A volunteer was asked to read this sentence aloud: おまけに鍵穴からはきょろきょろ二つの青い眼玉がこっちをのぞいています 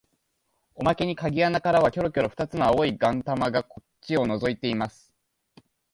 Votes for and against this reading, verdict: 2, 1, accepted